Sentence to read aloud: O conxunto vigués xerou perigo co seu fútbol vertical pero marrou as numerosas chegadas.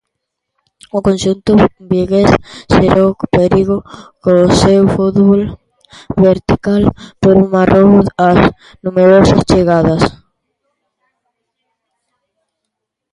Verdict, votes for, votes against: rejected, 1, 2